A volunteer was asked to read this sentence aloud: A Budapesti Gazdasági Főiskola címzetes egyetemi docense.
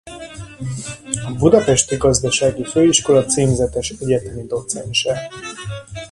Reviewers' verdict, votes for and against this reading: rejected, 0, 2